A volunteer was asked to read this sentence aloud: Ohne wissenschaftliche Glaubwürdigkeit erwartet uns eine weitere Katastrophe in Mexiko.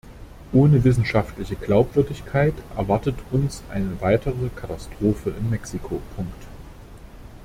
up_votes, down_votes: 0, 2